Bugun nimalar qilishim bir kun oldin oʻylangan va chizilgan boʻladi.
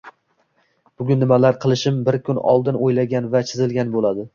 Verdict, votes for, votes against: accepted, 2, 1